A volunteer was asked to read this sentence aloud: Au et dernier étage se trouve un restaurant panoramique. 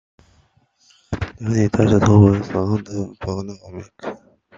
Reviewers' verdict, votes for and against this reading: rejected, 0, 2